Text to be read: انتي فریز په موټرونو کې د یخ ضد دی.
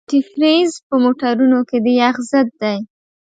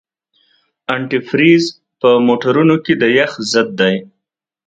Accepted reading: second